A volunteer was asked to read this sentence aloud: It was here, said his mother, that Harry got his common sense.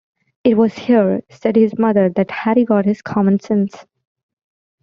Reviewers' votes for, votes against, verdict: 2, 0, accepted